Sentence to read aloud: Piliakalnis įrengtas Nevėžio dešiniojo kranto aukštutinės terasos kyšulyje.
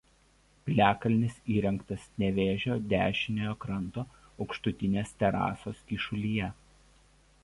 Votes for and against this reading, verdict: 2, 1, accepted